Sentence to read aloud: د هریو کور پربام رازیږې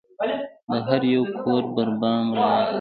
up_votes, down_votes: 1, 2